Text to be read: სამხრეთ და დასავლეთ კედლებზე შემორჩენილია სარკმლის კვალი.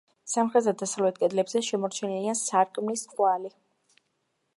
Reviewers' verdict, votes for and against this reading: accepted, 2, 1